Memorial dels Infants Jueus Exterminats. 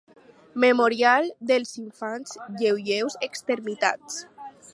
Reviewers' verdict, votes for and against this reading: rejected, 0, 4